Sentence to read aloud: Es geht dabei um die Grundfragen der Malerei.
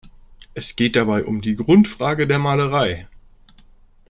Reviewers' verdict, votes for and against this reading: rejected, 1, 2